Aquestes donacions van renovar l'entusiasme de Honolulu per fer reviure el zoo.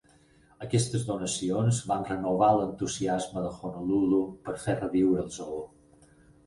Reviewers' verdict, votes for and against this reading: accepted, 6, 0